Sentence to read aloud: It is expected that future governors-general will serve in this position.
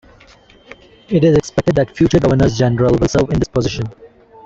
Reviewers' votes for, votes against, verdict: 2, 1, accepted